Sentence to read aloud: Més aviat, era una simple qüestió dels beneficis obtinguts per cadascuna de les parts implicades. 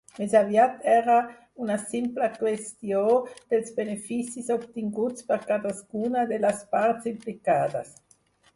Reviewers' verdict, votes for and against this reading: accepted, 4, 0